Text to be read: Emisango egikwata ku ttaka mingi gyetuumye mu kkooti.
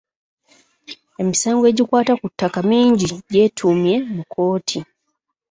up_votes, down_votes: 1, 2